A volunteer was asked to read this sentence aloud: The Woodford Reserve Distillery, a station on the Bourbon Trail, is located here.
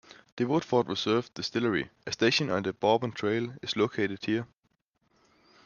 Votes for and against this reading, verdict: 2, 0, accepted